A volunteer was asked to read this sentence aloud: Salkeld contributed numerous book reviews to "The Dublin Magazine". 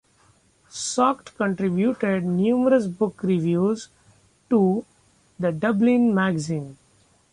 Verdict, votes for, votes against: accepted, 2, 0